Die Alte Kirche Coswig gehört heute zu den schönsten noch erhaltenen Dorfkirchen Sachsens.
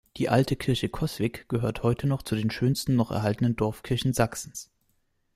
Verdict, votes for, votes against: rejected, 0, 2